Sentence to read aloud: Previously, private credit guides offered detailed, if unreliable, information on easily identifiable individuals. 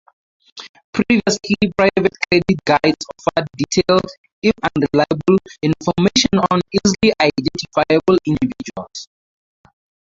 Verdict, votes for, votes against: rejected, 0, 4